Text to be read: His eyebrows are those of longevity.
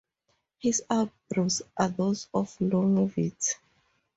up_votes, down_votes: 2, 2